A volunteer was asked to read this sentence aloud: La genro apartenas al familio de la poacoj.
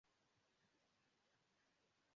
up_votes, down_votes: 1, 3